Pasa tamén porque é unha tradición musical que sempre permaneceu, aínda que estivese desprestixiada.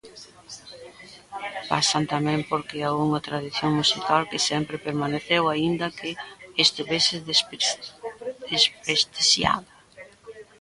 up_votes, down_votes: 0, 2